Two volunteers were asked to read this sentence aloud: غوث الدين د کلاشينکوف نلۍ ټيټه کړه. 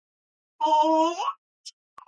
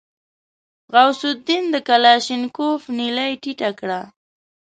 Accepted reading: second